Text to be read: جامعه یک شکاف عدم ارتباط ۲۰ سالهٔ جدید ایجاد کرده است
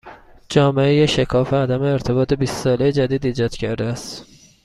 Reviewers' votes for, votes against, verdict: 0, 2, rejected